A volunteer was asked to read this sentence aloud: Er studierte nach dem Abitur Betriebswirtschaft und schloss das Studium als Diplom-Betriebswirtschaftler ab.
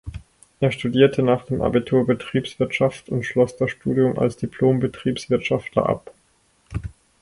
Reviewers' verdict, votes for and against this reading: accepted, 4, 0